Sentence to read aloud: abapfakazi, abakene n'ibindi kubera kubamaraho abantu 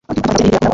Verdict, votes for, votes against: rejected, 1, 2